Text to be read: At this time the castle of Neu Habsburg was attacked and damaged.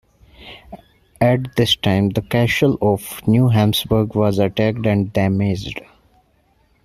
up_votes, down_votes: 2, 0